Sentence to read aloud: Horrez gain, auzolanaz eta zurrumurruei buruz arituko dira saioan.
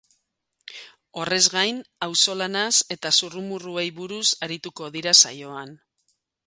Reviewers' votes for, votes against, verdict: 4, 0, accepted